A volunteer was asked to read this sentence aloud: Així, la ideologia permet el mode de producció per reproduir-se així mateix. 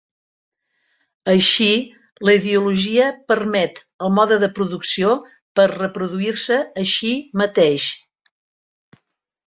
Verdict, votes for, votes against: accepted, 2, 0